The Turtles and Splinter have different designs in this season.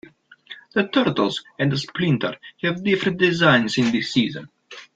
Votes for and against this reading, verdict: 2, 0, accepted